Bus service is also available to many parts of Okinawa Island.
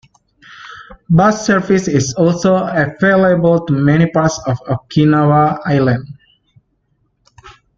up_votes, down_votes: 2, 0